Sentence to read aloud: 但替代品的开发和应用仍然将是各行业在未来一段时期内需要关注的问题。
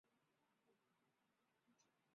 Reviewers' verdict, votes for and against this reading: rejected, 0, 2